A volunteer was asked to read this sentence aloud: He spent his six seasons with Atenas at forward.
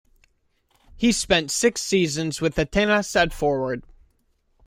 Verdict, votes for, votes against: rejected, 1, 2